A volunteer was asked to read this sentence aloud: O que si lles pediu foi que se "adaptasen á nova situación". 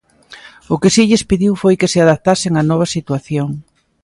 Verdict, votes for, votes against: accepted, 2, 0